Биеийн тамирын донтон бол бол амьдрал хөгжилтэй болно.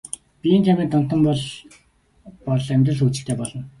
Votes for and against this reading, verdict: 2, 0, accepted